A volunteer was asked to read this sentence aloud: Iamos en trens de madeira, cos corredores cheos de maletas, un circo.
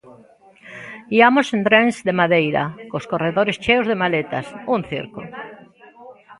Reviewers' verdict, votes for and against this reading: rejected, 1, 2